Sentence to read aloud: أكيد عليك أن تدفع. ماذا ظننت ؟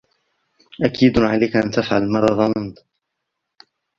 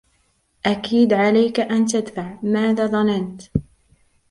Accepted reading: second